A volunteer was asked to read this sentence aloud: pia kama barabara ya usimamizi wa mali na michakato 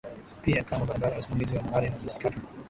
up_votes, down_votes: 0, 2